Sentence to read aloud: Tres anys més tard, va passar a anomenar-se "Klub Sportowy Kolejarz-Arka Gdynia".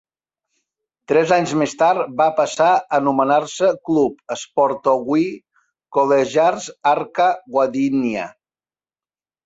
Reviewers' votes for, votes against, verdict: 1, 2, rejected